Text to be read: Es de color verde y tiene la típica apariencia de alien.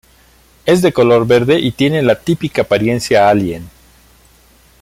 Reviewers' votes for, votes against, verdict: 0, 2, rejected